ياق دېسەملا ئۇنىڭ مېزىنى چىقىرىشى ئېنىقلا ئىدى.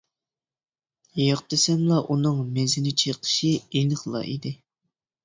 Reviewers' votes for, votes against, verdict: 0, 2, rejected